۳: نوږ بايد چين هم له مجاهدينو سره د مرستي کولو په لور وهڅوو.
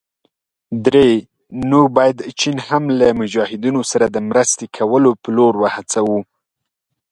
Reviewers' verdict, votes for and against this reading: rejected, 0, 2